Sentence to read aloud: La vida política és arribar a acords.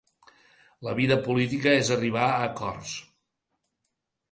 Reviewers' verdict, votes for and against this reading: accepted, 2, 0